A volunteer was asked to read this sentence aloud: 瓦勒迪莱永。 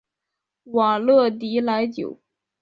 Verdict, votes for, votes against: rejected, 1, 2